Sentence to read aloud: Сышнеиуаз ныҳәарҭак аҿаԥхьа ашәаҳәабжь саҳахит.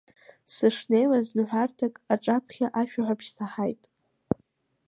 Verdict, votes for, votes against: rejected, 0, 2